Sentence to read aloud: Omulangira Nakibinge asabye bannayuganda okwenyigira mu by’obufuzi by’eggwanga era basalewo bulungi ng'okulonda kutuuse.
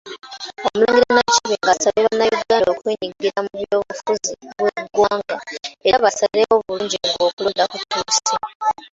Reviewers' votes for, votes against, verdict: 0, 2, rejected